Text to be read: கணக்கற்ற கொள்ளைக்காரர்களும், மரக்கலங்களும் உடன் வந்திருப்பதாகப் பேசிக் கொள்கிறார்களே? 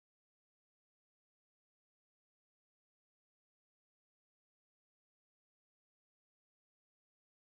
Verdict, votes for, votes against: rejected, 0, 2